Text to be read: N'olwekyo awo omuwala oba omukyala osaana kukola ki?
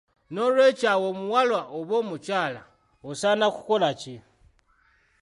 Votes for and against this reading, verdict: 2, 1, accepted